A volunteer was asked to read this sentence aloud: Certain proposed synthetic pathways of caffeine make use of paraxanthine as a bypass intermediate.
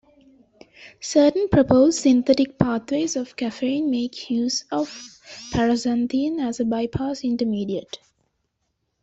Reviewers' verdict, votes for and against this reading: accepted, 2, 0